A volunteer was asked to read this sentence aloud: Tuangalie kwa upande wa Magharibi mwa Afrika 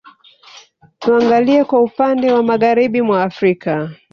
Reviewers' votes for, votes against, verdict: 2, 1, accepted